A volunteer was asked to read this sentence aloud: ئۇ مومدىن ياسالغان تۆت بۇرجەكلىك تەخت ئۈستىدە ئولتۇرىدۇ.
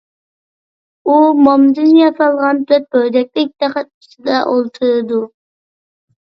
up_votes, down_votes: 1, 2